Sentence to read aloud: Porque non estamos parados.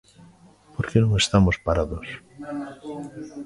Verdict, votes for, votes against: rejected, 1, 2